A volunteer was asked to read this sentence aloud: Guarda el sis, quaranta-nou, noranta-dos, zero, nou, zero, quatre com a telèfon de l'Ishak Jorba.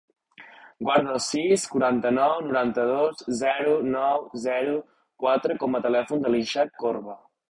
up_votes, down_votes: 1, 2